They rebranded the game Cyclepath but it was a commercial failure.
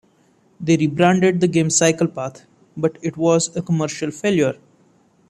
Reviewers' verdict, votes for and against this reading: rejected, 1, 2